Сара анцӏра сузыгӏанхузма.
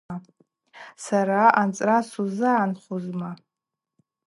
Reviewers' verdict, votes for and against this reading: accepted, 4, 0